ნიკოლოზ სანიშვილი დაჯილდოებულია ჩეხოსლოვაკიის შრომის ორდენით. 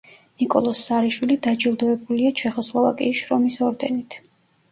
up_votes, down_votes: 0, 2